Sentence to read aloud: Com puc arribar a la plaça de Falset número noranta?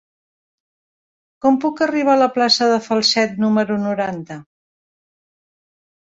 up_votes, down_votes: 3, 0